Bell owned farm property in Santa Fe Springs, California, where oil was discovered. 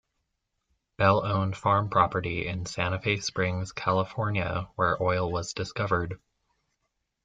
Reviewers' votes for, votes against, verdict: 2, 0, accepted